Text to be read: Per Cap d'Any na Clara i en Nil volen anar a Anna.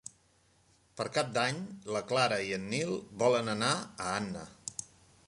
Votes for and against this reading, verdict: 3, 1, accepted